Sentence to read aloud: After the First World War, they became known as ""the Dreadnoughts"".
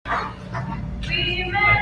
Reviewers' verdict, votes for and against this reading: rejected, 0, 2